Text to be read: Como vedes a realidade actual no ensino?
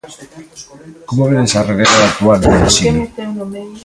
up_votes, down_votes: 0, 2